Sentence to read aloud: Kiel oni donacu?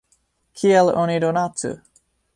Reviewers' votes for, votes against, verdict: 2, 0, accepted